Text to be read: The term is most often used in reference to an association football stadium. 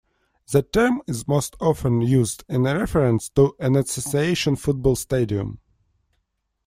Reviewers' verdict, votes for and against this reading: rejected, 1, 2